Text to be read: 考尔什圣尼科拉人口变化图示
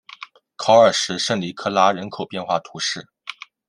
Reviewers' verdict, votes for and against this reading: accepted, 2, 0